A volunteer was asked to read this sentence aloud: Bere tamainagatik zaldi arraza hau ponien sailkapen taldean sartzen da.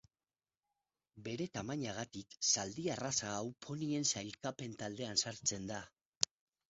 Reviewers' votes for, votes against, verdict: 4, 0, accepted